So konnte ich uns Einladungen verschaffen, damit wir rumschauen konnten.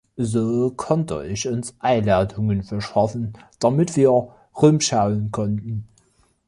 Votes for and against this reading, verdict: 1, 2, rejected